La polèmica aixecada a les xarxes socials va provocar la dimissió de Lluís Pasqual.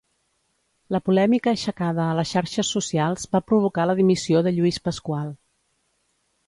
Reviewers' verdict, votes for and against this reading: accepted, 2, 0